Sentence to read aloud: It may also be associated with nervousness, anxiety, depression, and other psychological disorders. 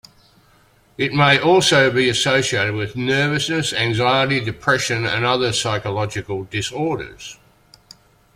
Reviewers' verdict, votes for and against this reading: accepted, 2, 0